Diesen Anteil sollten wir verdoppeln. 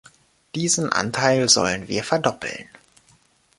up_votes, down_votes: 0, 2